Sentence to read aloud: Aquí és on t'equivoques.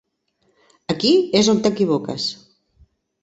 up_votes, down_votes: 4, 0